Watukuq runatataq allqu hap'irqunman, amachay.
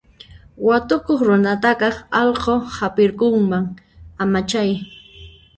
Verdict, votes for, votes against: rejected, 0, 2